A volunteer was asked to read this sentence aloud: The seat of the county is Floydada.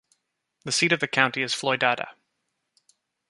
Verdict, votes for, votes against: accepted, 2, 0